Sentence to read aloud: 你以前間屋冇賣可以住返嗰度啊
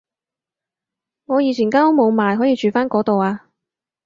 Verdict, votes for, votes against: rejected, 2, 2